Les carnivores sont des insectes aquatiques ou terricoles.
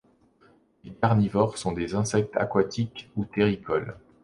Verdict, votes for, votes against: accepted, 3, 0